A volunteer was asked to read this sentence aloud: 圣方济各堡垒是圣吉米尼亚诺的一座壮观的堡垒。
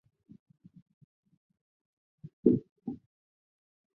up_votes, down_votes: 0, 2